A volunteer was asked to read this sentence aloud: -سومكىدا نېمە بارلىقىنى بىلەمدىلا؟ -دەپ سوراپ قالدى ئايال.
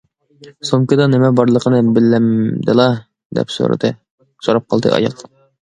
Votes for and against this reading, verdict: 0, 2, rejected